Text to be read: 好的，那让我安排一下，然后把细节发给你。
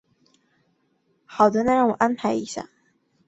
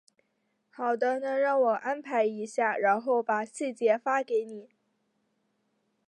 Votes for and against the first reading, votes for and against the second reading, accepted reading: 0, 4, 2, 0, second